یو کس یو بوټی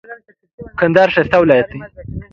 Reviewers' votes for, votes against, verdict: 1, 2, rejected